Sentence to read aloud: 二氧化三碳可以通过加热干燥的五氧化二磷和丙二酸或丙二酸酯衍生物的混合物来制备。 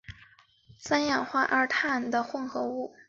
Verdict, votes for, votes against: rejected, 0, 2